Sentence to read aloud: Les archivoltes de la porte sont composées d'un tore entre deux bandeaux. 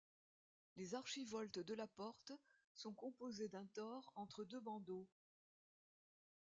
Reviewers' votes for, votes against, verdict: 2, 0, accepted